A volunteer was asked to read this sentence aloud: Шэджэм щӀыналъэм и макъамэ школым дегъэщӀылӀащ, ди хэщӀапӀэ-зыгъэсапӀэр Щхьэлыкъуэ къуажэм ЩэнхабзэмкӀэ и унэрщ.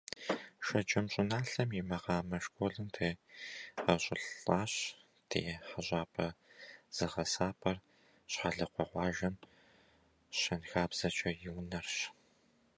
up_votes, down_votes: 0, 2